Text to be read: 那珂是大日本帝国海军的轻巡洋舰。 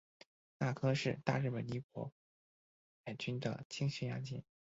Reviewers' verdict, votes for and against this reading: rejected, 0, 2